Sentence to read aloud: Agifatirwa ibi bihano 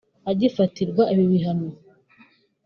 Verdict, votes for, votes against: accepted, 3, 1